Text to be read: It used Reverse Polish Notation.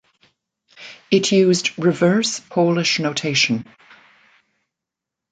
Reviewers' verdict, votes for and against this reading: accepted, 2, 0